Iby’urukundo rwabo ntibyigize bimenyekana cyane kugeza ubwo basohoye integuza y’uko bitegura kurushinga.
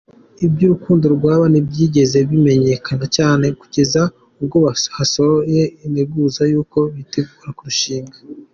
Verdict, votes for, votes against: rejected, 0, 2